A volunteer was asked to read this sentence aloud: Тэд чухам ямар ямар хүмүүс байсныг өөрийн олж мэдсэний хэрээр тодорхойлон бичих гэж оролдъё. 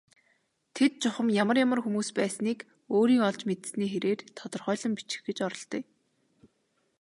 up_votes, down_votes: 2, 0